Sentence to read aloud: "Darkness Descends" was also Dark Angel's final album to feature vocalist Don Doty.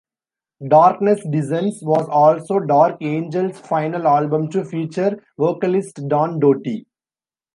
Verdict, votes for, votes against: accepted, 2, 0